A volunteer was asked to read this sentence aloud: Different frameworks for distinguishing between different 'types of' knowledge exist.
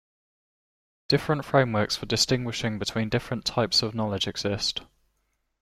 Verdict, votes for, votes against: accepted, 2, 0